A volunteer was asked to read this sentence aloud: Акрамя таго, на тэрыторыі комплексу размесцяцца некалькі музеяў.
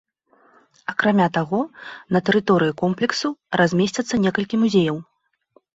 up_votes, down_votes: 2, 0